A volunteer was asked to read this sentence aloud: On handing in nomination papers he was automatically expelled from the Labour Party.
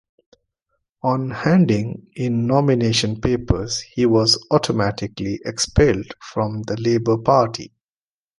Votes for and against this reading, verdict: 2, 0, accepted